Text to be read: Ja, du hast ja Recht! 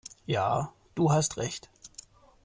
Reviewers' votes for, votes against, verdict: 1, 2, rejected